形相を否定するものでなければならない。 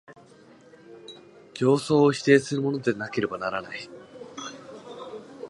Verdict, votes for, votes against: accepted, 2, 0